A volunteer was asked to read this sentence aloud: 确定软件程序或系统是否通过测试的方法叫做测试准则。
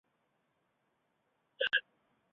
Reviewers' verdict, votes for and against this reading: rejected, 0, 4